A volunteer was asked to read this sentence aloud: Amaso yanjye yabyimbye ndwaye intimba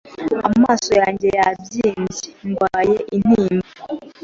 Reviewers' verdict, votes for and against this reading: accepted, 2, 0